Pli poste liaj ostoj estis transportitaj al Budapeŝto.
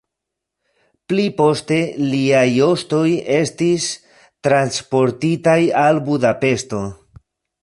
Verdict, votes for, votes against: accepted, 2, 1